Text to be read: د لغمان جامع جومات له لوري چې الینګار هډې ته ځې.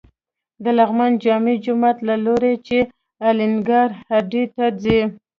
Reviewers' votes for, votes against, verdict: 1, 2, rejected